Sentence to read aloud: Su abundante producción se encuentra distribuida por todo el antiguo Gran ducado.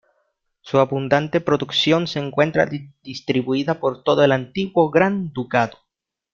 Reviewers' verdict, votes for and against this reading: rejected, 0, 2